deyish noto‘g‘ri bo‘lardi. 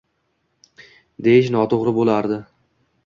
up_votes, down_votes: 2, 1